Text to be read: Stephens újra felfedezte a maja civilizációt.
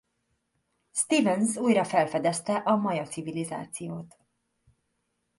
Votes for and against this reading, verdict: 2, 0, accepted